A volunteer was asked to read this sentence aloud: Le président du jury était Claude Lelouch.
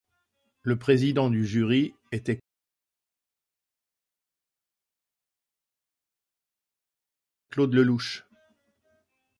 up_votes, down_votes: 1, 2